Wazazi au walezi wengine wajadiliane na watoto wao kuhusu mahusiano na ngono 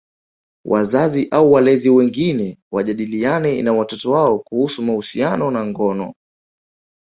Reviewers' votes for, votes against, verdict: 2, 0, accepted